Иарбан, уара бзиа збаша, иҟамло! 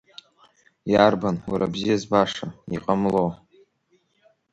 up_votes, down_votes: 2, 0